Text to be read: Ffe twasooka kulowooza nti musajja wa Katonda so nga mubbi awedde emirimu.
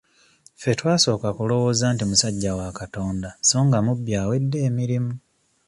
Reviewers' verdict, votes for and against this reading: accepted, 2, 0